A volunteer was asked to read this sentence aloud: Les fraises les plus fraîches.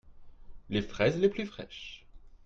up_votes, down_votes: 2, 0